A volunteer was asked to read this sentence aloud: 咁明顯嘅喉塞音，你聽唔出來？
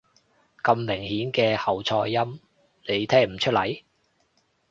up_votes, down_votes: 1, 2